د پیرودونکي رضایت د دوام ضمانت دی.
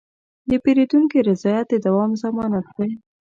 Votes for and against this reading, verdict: 2, 0, accepted